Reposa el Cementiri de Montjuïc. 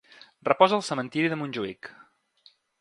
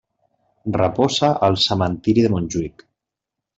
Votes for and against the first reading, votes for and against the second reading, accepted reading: 3, 0, 1, 2, first